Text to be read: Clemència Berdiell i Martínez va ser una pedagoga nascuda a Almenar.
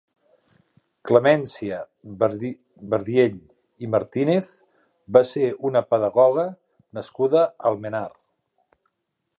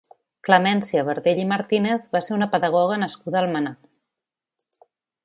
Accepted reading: second